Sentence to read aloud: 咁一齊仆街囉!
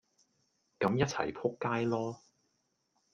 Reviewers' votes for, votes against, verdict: 1, 2, rejected